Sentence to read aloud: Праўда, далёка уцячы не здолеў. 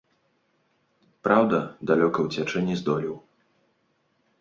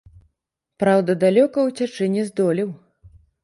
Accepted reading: first